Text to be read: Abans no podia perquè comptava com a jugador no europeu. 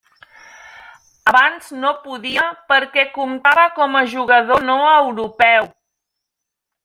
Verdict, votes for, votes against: accepted, 3, 1